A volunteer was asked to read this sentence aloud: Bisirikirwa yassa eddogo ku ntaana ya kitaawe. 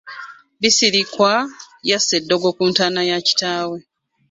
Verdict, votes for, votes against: rejected, 1, 2